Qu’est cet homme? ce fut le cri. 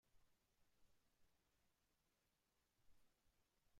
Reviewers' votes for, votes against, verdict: 0, 2, rejected